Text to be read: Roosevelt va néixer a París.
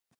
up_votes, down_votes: 0, 2